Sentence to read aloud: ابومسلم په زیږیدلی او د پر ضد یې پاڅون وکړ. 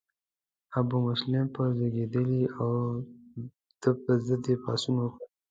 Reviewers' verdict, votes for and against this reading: rejected, 0, 2